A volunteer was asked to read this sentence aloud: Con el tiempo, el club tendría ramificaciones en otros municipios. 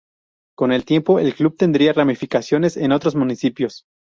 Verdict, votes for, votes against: rejected, 0, 2